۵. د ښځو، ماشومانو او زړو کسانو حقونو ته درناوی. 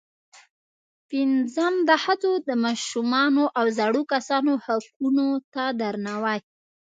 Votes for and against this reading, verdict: 0, 2, rejected